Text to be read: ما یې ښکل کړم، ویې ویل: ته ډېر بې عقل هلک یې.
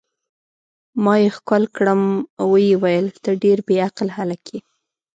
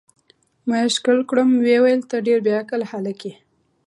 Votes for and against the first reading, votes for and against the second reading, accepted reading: 1, 2, 2, 0, second